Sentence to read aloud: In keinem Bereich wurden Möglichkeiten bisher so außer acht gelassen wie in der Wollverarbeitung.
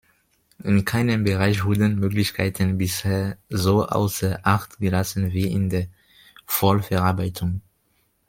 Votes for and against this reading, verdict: 0, 2, rejected